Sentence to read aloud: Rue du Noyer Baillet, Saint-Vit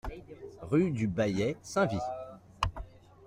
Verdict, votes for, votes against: rejected, 0, 2